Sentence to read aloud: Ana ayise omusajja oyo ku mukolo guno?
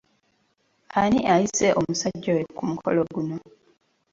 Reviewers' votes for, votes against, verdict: 2, 0, accepted